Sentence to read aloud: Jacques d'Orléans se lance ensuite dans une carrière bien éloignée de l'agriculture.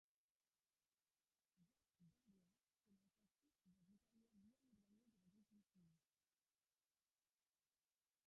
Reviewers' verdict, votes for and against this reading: rejected, 0, 2